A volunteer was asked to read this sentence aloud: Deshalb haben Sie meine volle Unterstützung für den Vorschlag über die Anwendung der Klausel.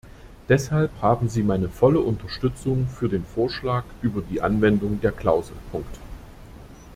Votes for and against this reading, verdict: 1, 2, rejected